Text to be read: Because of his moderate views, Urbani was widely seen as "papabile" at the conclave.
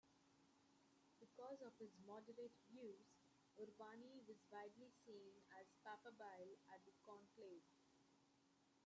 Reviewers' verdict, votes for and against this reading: rejected, 0, 2